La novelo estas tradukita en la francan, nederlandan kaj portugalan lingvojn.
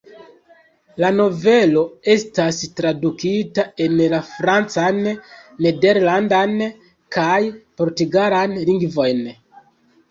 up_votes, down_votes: 2, 0